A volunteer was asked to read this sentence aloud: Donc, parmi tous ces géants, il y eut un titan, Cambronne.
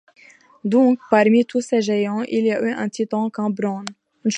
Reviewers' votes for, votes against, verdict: 2, 1, accepted